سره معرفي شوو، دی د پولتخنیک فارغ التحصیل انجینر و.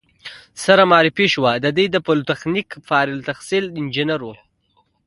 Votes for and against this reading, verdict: 2, 1, accepted